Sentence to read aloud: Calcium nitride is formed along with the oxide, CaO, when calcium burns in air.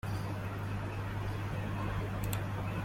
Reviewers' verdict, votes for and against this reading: rejected, 0, 2